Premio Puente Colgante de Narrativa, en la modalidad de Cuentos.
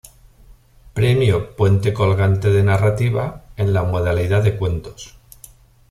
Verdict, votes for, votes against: accepted, 2, 0